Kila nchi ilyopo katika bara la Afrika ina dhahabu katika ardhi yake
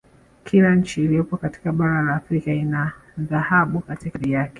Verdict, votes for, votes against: accepted, 2, 0